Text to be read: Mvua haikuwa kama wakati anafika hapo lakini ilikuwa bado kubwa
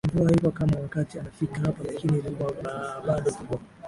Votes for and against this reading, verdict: 0, 2, rejected